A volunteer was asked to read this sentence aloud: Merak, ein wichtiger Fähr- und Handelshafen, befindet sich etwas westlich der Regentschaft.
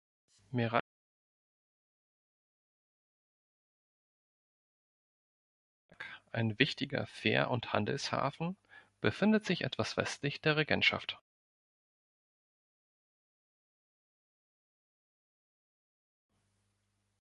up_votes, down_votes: 1, 2